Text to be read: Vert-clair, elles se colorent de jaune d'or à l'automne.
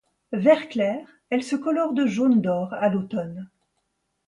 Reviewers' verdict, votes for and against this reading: accepted, 2, 0